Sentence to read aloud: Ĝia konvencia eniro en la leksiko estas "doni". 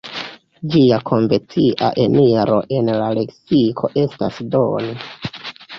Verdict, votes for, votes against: rejected, 0, 2